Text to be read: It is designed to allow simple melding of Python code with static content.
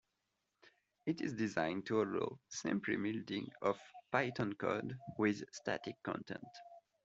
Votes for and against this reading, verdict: 1, 2, rejected